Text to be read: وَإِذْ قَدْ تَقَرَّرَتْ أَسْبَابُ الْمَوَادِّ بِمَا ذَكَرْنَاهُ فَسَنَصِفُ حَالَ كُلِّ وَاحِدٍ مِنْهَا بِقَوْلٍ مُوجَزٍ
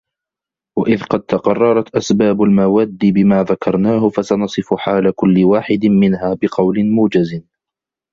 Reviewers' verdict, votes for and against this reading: rejected, 1, 2